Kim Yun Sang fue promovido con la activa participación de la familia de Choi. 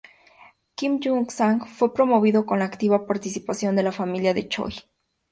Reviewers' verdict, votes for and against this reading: accepted, 2, 0